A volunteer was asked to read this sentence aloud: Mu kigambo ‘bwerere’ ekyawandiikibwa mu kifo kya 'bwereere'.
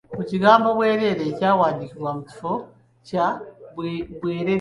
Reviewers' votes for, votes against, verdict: 1, 2, rejected